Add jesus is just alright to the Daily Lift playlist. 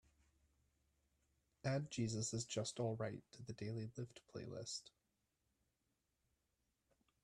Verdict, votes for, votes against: accepted, 2, 1